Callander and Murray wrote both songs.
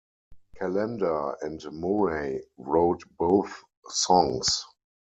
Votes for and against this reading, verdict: 4, 0, accepted